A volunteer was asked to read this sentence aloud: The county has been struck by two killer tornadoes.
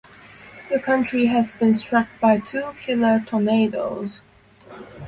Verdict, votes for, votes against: accepted, 2, 0